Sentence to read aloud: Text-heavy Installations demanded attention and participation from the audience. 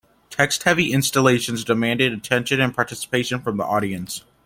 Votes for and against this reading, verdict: 2, 0, accepted